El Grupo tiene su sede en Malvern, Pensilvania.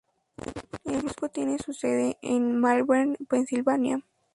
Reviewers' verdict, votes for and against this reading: accepted, 2, 0